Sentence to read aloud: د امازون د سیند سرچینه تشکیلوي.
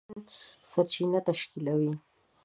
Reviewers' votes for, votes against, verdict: 0, 2, rejected